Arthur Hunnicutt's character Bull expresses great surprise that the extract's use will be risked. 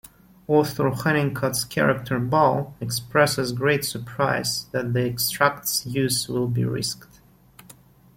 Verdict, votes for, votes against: accepted, 2, 1